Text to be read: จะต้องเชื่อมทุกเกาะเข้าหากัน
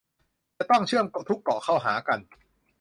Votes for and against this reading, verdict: 0, 2, rejected